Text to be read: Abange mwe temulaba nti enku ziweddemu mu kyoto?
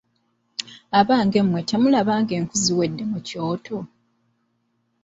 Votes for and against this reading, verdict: 0, 2, rejected